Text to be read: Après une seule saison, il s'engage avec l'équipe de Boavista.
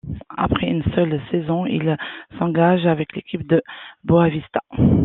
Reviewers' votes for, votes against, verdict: 2, 0, accepted